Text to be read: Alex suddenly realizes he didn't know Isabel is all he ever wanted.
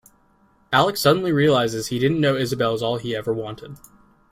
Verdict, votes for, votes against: rejected, 1, 2